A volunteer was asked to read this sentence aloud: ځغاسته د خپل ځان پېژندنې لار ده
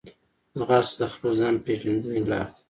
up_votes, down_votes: 2, 1